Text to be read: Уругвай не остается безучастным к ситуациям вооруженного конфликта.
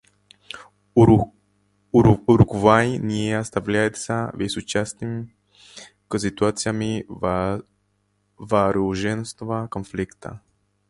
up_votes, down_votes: 0, 2